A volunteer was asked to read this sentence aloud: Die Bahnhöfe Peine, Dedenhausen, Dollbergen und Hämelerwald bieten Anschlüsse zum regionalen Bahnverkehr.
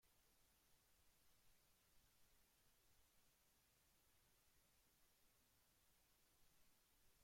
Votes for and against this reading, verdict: 0, 2, rejected